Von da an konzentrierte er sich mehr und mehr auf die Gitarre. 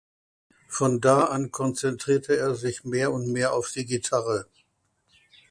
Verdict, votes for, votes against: accepted, 2, 0